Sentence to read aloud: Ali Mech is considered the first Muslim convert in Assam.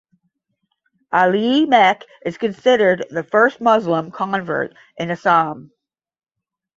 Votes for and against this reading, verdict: 5, 5, rejected